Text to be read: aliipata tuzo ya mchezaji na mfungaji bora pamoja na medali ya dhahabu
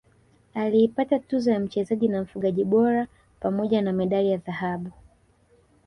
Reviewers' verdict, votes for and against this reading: rejected, 1, 2